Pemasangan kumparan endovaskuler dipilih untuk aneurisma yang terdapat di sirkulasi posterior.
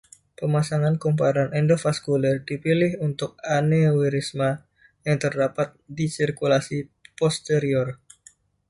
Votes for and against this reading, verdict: 2, 0, accepted